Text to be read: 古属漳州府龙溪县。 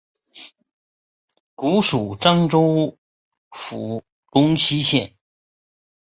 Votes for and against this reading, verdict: 2, 1, accepted